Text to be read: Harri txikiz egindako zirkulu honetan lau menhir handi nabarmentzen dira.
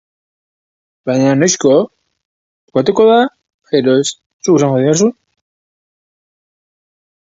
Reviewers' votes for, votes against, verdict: 0, 3, rejected